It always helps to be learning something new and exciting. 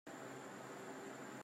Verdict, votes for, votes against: rejected, 0, 3